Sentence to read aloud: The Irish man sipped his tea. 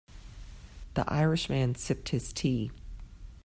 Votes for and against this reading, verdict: 3, 0, accepted